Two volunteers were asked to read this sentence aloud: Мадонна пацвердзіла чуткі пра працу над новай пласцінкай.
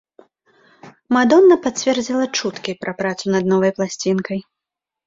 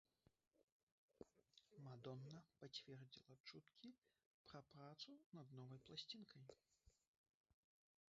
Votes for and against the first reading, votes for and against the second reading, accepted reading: 2, 0, 0, 2, first